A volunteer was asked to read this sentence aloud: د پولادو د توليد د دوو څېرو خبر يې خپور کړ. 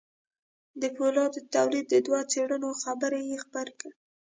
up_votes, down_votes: 0, 2